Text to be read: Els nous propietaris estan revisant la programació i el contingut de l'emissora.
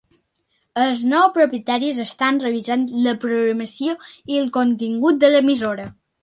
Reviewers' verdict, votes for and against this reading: accepted, 3, 0